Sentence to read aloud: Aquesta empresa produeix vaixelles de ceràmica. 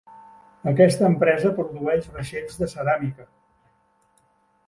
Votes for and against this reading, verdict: 1, 2, rejected